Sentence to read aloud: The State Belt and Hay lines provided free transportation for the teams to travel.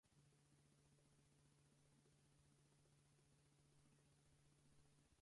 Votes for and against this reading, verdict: 0, 4, rejected